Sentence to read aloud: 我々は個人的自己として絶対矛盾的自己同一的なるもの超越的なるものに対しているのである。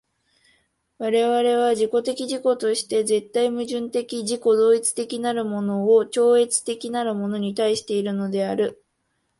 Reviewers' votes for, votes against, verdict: 1, 2, rejected